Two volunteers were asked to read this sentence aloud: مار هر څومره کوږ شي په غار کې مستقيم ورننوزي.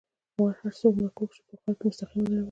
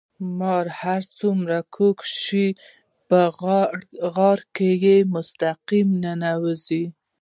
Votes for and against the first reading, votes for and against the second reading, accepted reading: 2, 1, 0, 2, first